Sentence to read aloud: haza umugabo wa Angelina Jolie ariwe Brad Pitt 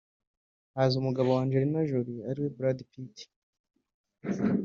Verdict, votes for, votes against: rejected, 0, 2